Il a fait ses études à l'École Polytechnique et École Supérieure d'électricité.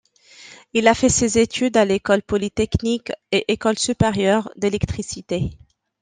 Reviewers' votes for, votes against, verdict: 2, 0, accepted